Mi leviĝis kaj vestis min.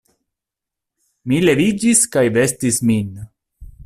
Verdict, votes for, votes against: accepted, 2, 0